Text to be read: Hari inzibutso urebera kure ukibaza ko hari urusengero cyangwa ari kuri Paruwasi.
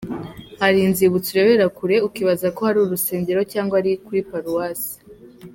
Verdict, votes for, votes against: accepted, 3, 1